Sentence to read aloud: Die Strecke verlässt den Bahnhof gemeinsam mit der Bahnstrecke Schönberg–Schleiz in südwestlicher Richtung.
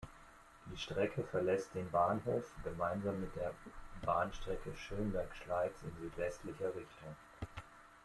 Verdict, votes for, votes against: rejected, 1, 2